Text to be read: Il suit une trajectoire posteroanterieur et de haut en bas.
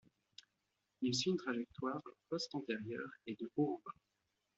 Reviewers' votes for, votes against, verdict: 1, 2, rejected